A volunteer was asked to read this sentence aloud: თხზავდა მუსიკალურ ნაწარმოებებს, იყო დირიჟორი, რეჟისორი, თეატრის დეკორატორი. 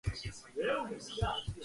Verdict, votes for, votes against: rejected, 0, 2